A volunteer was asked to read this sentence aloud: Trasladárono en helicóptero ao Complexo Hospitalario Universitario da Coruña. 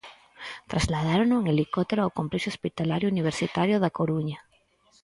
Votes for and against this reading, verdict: 4, 0, accepted